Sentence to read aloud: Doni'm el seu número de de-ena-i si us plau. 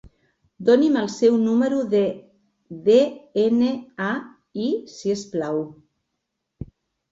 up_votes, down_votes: 0, 2